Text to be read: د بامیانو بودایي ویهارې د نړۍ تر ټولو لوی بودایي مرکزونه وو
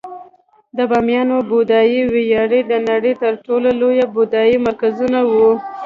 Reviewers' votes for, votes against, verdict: 2, 0, accepted